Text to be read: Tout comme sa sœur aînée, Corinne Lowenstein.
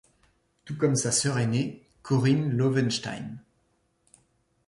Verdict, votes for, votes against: accepted, 2, 0